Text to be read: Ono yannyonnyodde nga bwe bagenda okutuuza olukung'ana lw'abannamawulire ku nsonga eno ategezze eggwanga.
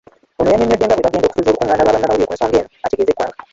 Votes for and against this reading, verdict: 1, 2, rejected